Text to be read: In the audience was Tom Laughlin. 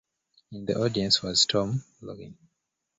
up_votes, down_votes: 0, 2